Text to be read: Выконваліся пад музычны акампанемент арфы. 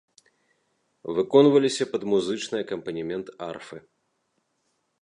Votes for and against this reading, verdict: 2, 0, accepted